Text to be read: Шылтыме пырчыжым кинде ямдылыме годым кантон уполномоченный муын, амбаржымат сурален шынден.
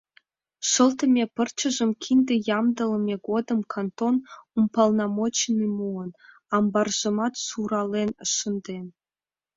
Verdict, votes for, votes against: rejected, 1, 5